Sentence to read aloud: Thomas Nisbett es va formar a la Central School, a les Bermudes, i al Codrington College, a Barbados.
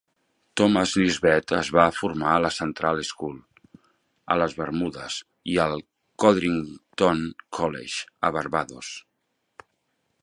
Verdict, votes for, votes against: accepted, 2, 0